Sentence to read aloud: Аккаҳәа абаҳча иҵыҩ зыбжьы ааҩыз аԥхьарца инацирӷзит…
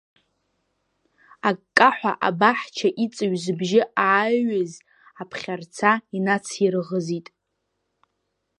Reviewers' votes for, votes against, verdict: 2, 0, accepted